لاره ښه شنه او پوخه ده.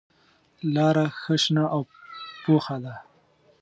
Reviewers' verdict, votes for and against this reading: accepted, 2, 0